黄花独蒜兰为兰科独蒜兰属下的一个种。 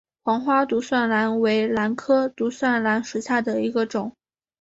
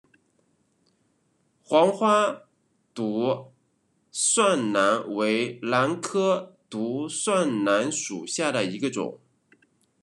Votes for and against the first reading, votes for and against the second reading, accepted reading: 2, 1, 1, 2, first